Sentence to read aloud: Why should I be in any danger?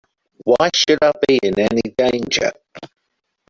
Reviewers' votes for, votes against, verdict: 1, 2, rejected